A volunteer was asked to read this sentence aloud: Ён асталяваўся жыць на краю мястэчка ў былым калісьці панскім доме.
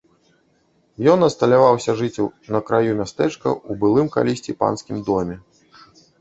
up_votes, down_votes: 1, 2